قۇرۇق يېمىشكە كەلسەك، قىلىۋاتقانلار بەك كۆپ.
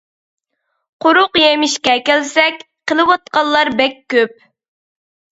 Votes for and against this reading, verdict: 2, 0, accepted